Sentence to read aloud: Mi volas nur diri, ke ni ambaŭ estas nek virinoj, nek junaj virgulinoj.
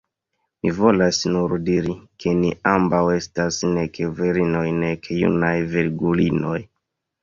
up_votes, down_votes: 3, 1